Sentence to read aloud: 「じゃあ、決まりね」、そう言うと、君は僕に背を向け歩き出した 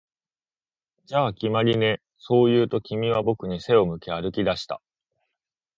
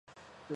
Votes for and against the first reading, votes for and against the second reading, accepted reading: 2, 0, 0, 2, first